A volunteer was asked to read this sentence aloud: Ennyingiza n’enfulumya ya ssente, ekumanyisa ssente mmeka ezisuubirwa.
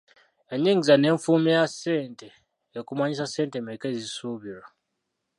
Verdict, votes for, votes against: rejected, 0, 2